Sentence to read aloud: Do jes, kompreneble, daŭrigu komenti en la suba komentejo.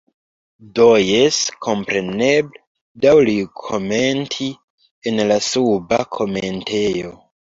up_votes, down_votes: 2, 1